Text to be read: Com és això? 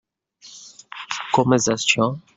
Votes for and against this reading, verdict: 0, 2, rejected